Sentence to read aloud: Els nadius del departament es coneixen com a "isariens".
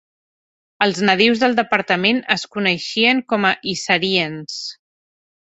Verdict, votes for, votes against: rejected, 0, 2